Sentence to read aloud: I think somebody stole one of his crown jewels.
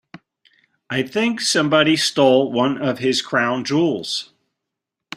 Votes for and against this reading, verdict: 2, 0, accepted